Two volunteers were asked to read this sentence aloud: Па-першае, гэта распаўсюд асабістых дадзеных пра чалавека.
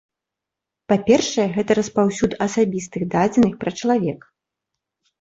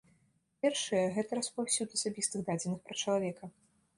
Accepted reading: first